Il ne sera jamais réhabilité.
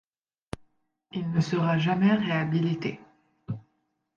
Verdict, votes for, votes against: accepted, 2, 0